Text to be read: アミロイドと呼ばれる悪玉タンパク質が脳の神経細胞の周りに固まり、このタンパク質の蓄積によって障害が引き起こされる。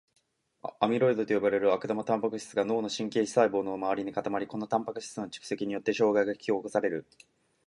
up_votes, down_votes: 2, 0